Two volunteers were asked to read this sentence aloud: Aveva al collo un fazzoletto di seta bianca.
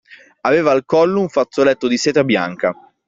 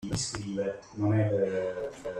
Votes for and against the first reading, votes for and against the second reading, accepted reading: 2, 0, 0, 2, first